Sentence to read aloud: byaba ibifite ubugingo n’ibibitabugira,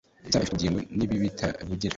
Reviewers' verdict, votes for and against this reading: rejected, 1, 2